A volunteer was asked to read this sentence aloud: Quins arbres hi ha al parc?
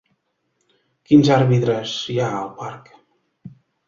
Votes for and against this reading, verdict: 1, 2, rejected